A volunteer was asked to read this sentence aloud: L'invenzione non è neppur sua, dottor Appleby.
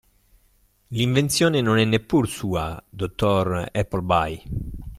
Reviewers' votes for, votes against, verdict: 2, 0, accepted